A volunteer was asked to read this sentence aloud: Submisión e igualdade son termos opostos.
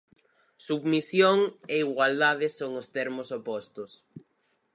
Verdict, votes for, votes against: rejected, 0, 4